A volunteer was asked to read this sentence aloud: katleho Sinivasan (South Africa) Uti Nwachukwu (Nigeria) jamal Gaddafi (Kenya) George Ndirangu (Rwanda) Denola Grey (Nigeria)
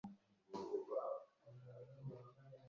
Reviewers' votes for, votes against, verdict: 0, 2, rejected